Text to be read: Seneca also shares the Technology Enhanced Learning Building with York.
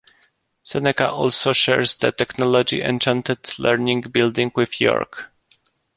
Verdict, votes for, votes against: rejected, 0, 2